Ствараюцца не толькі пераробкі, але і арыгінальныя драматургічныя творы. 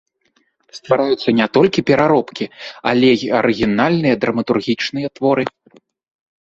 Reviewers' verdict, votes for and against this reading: accepted, 2, 0